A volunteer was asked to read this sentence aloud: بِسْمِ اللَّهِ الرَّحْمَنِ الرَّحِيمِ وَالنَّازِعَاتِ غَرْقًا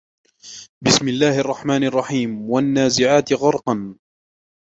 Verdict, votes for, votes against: rejected, 1, 2